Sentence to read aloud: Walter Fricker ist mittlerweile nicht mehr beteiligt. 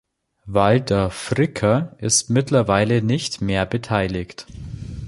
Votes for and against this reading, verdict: 2, 0, accepted